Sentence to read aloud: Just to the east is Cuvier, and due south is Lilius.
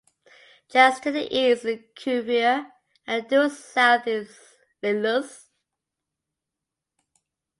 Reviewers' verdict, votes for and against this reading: accepted, 2, 0